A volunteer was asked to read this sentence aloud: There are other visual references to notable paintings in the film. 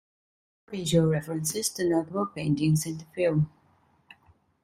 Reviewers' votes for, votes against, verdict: 0, 2, rejected